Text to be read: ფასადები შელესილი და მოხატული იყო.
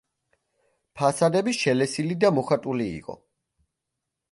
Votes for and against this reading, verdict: 2, 0, accepted